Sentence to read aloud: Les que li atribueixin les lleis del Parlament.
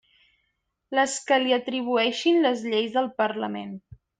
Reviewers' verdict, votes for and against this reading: accepted, 3, 0